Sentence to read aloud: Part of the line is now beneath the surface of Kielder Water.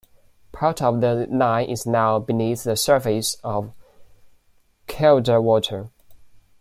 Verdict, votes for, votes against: accepted, 2, 0